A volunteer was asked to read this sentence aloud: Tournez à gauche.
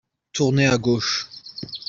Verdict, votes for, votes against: rejected, 0, 2